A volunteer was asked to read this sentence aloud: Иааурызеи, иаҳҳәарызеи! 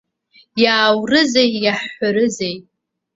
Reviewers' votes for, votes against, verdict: 2, 0, accepted